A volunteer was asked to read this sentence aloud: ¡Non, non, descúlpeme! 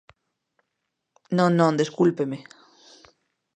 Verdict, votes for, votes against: accepted, 2, 0